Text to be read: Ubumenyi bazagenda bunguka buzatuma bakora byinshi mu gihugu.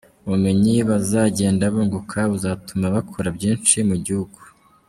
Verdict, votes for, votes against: rejected, 0, 2